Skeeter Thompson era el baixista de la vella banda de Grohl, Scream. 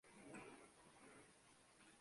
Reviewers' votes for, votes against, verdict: 0, 2, rejected